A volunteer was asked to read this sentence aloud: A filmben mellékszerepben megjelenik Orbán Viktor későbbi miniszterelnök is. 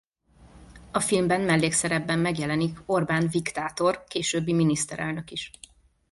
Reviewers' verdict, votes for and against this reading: rejected, 0, 2